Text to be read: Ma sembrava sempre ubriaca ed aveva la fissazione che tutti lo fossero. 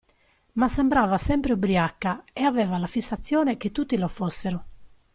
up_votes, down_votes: 2, 0